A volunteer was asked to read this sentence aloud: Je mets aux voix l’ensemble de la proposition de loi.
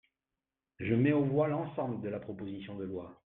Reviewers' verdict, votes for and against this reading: rejected, 1, 2